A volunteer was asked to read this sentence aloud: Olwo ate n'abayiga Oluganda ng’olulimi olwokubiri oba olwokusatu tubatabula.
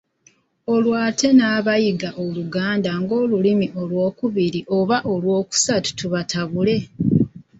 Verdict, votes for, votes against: rejected, 1, 2